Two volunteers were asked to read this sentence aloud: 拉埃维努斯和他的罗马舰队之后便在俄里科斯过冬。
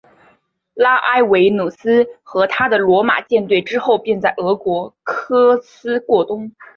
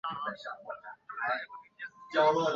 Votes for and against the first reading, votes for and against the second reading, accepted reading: 2, 1, 0, 3, first